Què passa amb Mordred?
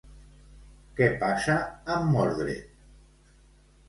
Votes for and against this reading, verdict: 2, 0, accepted